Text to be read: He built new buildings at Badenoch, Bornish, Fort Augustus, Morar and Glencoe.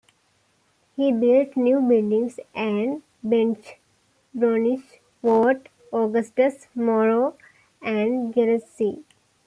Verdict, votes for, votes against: accepted, 2, 1